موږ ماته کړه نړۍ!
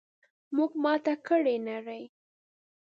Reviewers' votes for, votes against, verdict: 2, 0, accepted